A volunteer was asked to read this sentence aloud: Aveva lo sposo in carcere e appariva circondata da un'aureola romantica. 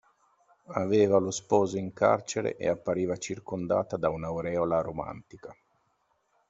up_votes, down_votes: 2, 0